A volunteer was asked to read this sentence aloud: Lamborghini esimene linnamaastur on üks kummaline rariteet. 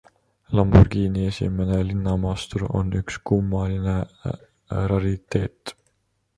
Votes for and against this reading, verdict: 0, 2, rejected